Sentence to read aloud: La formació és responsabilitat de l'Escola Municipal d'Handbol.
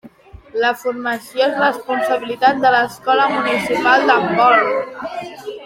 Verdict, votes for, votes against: accepted, 2, 1